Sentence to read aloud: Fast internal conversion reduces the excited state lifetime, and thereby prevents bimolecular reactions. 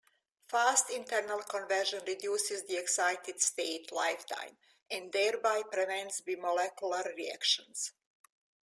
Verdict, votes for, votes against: accepted, 2, 0